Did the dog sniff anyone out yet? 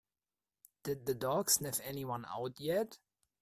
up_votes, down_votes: 2, 0